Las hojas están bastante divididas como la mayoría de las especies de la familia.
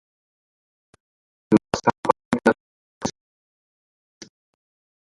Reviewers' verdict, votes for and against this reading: rejected, 0, 2